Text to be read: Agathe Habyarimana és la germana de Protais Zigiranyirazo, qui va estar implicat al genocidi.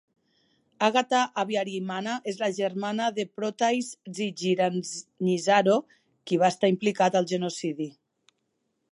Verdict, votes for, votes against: rejected, 1, 2